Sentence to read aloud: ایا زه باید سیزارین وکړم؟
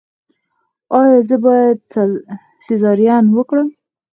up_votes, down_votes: 4, 2